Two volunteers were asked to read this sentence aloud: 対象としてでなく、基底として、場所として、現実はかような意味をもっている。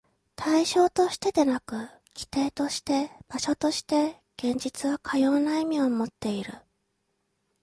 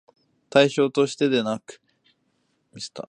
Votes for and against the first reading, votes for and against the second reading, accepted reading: 2, 0, 0, 2, first